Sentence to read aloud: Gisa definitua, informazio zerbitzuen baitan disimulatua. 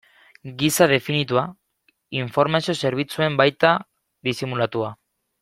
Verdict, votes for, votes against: rejected, 1, 2